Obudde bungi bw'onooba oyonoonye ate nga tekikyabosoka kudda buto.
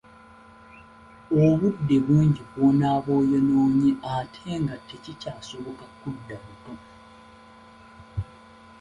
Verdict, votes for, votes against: rejected, 1, 2